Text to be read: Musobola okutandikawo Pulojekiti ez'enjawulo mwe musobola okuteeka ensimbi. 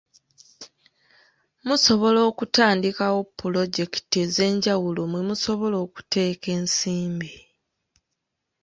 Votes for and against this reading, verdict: 3, 0, accepted